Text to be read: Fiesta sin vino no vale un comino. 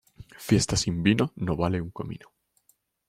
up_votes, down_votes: 2, 0